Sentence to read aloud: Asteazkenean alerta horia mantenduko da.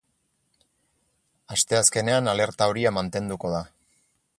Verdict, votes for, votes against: accepted, 6, 0